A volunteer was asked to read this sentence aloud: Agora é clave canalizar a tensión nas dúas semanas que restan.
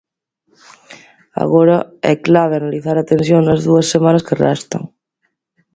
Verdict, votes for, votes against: rejected, 1, 2